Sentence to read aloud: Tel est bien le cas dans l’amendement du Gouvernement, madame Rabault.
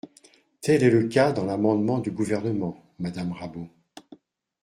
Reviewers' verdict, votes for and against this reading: rejected, 1, 2